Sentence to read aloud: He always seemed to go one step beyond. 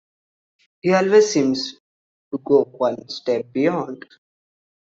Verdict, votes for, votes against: rejected, 0, 2